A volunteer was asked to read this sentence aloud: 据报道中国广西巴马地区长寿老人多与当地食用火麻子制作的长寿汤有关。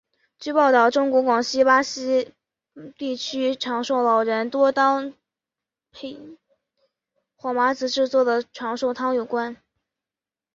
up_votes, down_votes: 0, 2